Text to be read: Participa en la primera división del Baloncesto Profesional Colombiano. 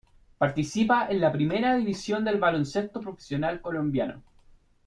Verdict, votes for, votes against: accepted, 2, 0